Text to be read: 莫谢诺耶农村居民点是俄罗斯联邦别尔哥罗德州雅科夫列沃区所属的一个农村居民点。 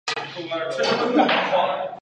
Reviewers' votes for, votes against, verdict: 2, 1, accepted